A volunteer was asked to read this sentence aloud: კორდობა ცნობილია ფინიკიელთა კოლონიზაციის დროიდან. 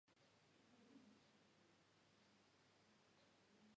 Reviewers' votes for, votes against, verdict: 1, 2, rejected